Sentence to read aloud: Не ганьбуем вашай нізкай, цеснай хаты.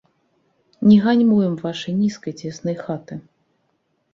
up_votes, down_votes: 1, 2